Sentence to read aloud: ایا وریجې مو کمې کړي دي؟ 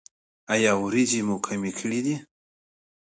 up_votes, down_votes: 2, 0